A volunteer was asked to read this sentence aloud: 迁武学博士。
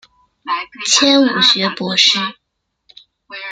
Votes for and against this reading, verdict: 1, 2, rejected